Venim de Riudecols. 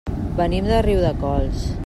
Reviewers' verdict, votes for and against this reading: accepted, 3, 0